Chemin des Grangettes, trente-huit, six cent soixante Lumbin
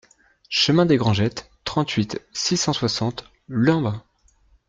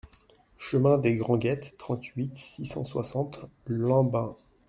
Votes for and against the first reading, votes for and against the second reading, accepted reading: 2, 0, 0, 2, first